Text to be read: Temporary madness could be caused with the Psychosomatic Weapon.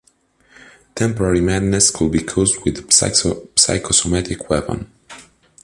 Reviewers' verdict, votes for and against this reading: rejected, 0, 2